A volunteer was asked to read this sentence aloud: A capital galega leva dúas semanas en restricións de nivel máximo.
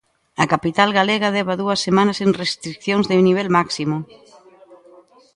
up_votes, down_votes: 1, 2